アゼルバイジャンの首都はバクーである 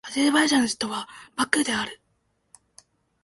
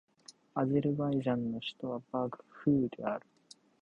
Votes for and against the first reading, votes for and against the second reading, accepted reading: 2, 0, 0, 2, first